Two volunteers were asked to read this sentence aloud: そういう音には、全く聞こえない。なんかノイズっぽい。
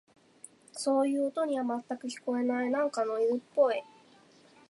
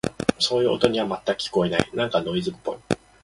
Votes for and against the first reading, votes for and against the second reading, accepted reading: 2, 0, 0, 2, first